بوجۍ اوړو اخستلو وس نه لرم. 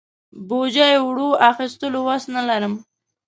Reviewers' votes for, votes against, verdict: 2, 0, accepted